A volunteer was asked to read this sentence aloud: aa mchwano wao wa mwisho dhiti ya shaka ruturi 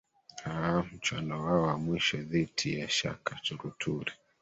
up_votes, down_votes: 1, 2